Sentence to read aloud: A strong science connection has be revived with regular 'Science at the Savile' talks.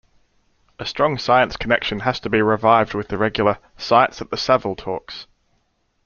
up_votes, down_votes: 1, 2